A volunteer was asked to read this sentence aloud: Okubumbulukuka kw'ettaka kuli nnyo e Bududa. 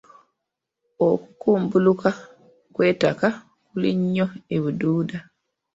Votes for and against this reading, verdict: 0, 2, rejected